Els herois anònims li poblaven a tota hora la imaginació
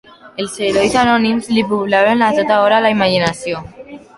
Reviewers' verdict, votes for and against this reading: rejected, 1, 2